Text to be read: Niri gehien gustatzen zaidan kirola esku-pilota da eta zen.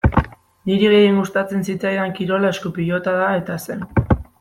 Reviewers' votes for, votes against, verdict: 0, 2, rejected